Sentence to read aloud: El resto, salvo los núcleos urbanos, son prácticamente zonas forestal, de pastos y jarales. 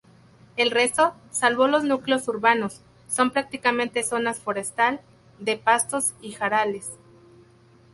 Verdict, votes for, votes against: rejected, 0, 2